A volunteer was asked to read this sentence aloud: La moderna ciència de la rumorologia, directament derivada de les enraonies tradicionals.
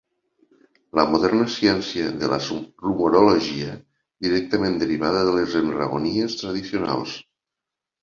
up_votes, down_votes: 0, 2